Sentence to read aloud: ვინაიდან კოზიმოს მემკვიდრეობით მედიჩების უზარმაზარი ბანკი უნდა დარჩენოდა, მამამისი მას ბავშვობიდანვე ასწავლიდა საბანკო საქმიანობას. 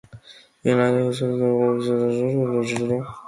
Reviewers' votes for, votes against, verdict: 0, 2, rejected